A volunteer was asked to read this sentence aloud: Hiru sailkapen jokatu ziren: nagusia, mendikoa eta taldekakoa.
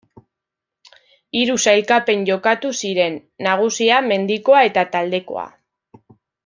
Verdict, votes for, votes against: rejected, 1, 2